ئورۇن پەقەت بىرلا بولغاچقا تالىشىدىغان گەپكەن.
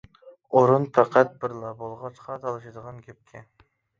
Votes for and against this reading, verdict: 2, 0, accepted